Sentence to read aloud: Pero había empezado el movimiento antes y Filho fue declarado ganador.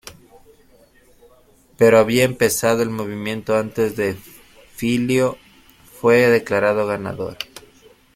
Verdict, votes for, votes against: rejected, 0, 2